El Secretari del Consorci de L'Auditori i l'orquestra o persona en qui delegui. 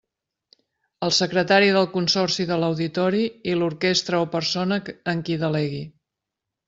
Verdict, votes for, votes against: rejected, 1, 2